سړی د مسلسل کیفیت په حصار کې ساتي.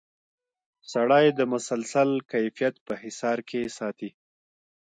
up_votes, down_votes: 1, 2